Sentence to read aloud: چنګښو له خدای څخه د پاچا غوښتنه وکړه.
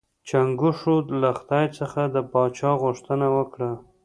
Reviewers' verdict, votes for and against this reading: accepted, 2, 0